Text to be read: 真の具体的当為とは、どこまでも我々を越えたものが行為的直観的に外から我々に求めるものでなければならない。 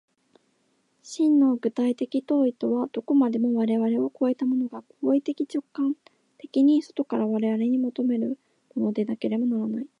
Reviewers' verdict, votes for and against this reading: rejected, 1, 2